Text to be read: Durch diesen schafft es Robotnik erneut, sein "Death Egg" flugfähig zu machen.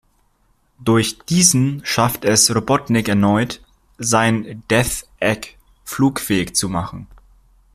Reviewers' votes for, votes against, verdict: 2, 0, accepted